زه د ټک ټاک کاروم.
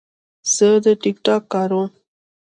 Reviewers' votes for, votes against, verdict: 3, 0, accepted